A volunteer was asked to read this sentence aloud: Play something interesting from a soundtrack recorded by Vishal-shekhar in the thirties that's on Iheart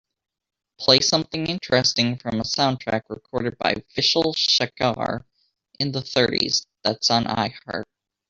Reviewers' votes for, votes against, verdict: 2, 0, accepted